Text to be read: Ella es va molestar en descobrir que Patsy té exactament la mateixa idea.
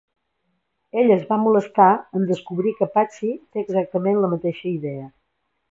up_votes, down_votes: 2, 0